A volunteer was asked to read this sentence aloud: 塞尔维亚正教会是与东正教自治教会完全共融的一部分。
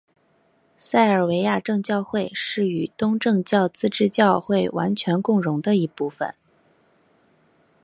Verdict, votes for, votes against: accepted, 2, 0